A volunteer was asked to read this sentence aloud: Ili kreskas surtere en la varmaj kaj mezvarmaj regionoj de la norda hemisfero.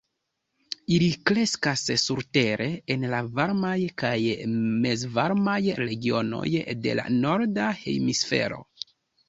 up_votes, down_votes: 2, 0